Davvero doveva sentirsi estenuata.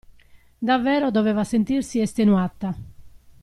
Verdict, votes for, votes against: accepted, 2, 0